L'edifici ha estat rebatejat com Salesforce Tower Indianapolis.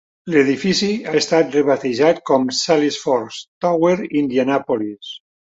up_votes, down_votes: 2, 0